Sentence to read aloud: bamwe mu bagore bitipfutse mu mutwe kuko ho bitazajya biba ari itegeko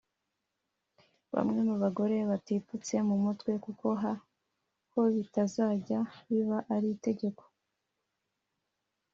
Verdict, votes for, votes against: accepted, 2, 0